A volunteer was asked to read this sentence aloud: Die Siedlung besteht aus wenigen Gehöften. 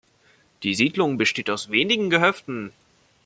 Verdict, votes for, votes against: accepted, 2, 0